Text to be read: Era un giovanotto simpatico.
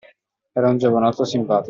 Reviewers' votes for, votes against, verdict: 2, 1, accepted